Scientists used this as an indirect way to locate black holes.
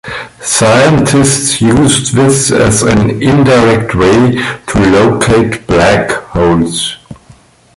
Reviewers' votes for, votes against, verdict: 2, 0, accepted